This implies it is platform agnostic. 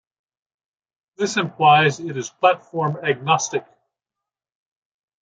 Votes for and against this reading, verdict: 2, 0, accepted